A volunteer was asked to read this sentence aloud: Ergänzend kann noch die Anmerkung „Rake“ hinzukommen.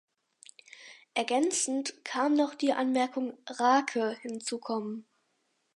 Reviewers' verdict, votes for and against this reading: accepted, 4, 0